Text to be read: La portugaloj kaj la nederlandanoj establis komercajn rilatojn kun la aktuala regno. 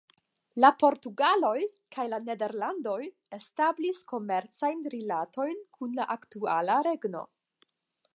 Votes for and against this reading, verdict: 5, 5, rejected